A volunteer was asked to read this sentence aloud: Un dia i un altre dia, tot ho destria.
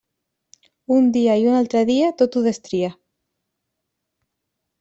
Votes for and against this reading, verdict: 3, 0, accepted